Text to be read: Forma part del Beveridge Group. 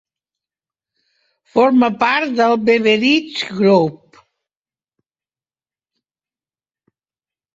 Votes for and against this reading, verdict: 2, 0, accepted